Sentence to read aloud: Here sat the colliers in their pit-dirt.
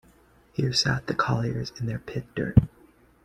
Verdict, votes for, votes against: accepted, 2, 0